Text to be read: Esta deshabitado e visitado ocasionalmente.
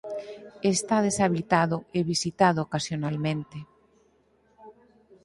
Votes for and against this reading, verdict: 0, 4, rejected